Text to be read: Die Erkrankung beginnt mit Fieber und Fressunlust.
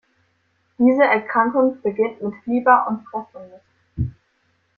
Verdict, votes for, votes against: rejected, 0, 2